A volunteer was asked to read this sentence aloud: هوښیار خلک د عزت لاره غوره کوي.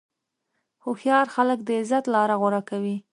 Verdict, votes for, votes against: accepted, 2, 0